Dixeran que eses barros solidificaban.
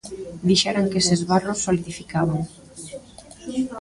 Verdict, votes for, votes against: rejected, 1, 2